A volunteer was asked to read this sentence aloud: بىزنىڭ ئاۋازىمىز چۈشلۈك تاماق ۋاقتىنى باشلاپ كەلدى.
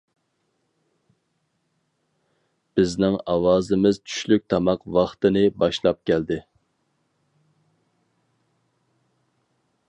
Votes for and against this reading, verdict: 4, 0, accepted